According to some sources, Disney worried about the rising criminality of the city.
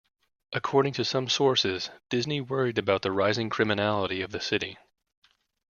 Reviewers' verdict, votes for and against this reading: accepted, 2, 0